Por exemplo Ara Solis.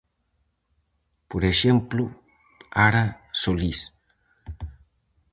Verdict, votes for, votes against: rejected, 2, 2